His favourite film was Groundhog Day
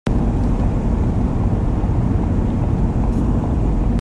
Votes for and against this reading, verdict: 0, 2, rejected